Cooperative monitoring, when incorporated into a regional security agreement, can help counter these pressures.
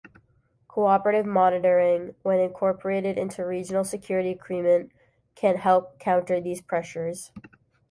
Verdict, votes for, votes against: accepted, 2, 1